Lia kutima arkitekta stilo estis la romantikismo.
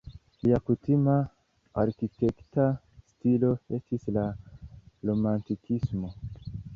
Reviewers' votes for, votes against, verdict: 1, 2, rejected